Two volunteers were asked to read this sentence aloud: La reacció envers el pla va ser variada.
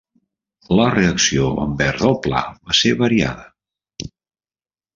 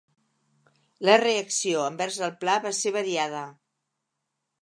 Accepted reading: second